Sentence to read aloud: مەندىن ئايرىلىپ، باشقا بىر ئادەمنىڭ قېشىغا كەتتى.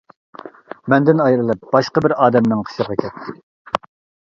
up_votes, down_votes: 2, 1